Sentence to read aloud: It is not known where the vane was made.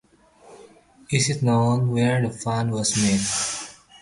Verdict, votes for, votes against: rejected, 1, 2